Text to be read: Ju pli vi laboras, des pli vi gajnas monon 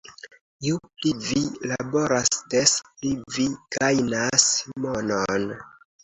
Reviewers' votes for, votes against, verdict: 2, 0, accepted